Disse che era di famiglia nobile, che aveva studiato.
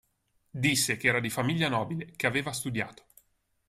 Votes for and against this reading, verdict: 2, 0, accepted